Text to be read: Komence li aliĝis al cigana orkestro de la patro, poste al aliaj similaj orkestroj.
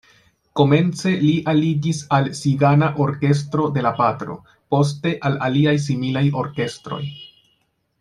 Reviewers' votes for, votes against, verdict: 0, 2, rejected